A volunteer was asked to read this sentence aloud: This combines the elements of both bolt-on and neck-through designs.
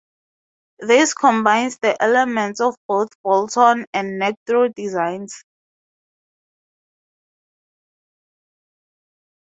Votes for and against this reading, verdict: 4, 0, accepted